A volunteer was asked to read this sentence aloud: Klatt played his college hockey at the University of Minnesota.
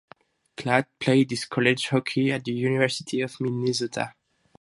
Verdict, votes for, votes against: rejected, 2, 2